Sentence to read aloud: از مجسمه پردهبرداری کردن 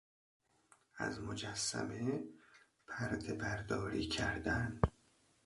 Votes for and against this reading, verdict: 1, 2, rejected